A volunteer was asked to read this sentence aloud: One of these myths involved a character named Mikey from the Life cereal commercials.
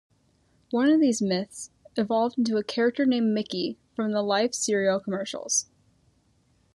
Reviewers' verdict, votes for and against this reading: rejected, 0, 2